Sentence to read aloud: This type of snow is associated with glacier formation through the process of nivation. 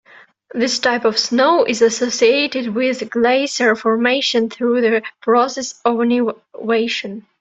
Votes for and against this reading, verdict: 1, 2, rejected